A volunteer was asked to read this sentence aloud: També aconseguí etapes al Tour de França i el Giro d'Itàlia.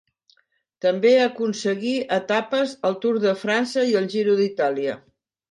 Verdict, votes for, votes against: accepted, 2, 0